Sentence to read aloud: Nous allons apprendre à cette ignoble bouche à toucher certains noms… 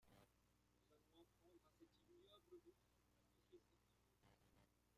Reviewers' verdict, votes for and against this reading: rejected, 0, 2